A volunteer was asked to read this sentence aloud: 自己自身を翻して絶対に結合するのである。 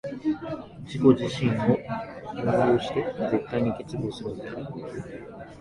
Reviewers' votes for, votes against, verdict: 1, 2, rejected